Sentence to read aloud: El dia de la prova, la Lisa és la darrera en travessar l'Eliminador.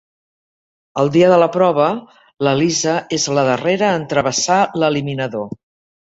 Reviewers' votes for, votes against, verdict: 2, 1, accepted